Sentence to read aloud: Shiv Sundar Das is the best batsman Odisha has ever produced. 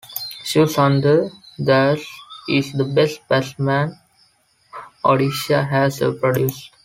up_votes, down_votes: 2, 0